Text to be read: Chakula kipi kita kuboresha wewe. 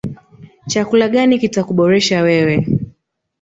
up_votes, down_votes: 1, 2